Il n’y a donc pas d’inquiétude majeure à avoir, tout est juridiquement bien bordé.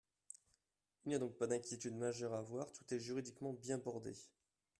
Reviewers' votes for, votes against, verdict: 2, 1, accepted